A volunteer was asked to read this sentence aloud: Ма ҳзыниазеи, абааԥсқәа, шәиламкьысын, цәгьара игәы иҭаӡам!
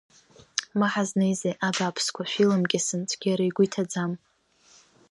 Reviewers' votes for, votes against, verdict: 1, 2, rejected